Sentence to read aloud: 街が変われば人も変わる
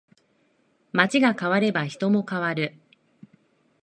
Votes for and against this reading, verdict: 2, 0, accepted